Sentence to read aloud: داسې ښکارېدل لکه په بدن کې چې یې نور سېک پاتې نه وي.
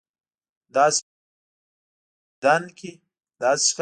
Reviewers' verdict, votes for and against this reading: rejected, 0, 2